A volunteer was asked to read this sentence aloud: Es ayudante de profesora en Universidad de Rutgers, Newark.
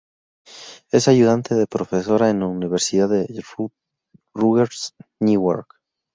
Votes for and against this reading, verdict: 0, 2, rejected